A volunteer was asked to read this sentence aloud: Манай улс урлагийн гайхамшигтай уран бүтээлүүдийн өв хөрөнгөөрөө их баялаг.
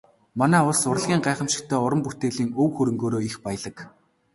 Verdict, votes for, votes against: rejected, 0, 2